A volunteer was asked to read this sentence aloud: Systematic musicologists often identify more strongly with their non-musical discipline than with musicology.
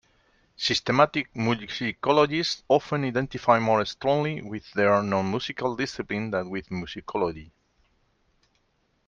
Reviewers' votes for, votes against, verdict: 1, 2, rejected